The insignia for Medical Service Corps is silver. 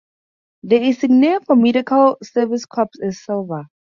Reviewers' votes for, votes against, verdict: 4, 0, accepted